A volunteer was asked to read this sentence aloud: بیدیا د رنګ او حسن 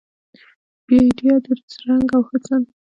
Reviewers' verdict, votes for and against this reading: rejected, 0, 2